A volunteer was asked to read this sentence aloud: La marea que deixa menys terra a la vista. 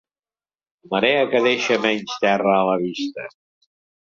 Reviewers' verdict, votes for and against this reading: rejected, 1, 2